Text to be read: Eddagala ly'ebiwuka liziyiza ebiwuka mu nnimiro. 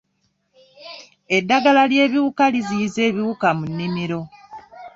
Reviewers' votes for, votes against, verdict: 2, 0, accepted